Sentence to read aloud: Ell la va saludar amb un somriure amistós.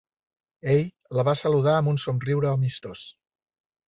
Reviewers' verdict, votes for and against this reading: accepted, 3, 0